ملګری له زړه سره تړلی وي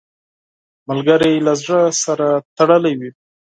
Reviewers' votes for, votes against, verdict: 4, 0, accepted